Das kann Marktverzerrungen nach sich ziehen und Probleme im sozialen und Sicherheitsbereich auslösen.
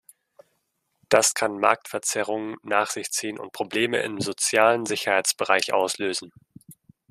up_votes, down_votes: 1, 2